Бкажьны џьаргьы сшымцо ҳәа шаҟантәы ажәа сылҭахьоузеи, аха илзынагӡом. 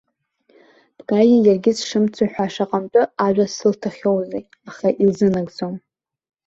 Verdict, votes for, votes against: rejected, 1, 2